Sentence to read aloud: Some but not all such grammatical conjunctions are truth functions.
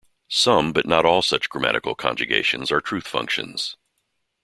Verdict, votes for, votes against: rejected, 0, 2